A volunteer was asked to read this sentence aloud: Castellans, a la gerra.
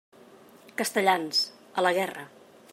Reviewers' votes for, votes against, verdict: 1, 2, rejected